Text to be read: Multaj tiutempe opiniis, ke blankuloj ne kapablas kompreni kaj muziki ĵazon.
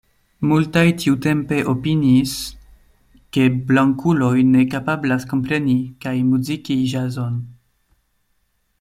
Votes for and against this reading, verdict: 2, 0, accepted